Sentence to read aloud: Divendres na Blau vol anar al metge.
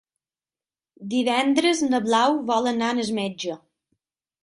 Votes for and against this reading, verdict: 6, 3, accepted